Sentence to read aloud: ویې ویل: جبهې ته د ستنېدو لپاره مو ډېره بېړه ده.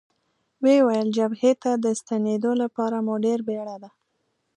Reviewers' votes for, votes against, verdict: 3, 1, accepted